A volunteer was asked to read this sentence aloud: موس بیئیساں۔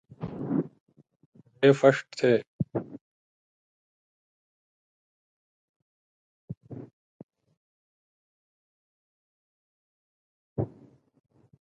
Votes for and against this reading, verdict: 0, 2, rejected